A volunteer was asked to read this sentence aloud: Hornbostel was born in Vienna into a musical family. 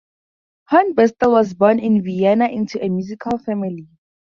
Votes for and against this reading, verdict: 2, 0, accepted